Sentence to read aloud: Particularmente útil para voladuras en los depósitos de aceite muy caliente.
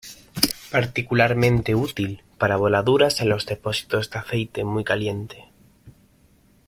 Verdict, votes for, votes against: accepted, 2, 0